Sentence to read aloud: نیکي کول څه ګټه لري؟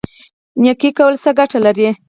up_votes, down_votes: 2, 4